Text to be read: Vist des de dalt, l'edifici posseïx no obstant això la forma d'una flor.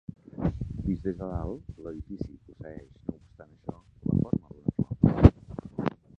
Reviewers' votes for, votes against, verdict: 0, 3, rejected